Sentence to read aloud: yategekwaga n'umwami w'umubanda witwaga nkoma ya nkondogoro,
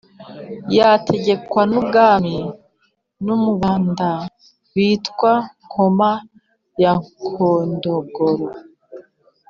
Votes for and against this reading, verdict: 1, 2, rejected